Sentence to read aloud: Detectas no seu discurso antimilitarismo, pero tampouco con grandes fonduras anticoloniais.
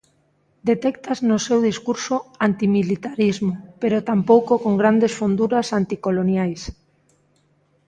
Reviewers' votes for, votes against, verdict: 2, 0, accepted